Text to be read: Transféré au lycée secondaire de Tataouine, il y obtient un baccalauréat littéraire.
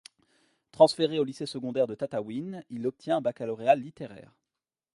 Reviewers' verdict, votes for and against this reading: rejected, 1, 2